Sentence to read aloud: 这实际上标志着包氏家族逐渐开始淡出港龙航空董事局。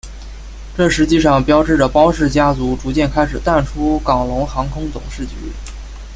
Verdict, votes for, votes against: rejected, 0, 2